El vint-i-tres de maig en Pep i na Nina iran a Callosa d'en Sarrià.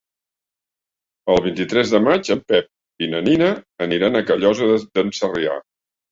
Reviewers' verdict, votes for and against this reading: rejected, 1, 2